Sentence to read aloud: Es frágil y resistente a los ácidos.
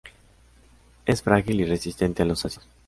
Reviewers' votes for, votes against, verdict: 0, 2, rejected